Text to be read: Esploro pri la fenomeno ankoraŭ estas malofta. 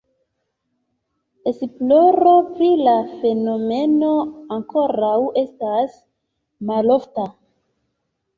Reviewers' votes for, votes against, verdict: 2, 1, accepted